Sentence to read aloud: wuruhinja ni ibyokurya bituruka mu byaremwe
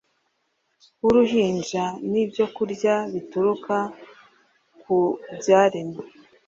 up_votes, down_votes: 1, 2